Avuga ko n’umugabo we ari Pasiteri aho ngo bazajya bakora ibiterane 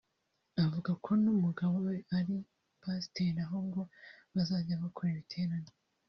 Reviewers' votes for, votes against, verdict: 0, 2, rejected